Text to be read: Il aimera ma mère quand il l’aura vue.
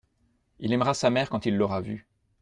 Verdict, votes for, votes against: rejected, 0, 2